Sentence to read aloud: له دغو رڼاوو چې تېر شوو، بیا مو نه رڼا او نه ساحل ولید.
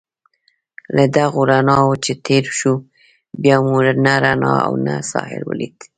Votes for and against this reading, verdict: 1, 2, rejected